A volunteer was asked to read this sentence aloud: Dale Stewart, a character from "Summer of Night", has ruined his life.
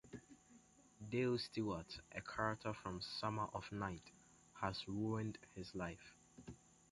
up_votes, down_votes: 2, 0